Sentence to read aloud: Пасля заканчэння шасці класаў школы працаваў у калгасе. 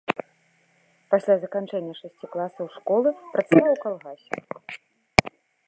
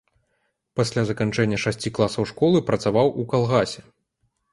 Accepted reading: second